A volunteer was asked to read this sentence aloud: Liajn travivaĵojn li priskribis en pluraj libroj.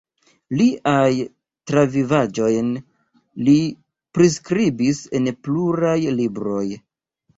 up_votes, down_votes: 0, 2